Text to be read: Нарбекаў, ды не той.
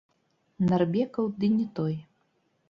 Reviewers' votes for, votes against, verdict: 1, 2, rejected